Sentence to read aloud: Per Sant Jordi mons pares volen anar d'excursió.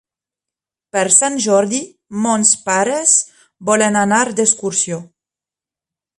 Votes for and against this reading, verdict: 3, 1, accepted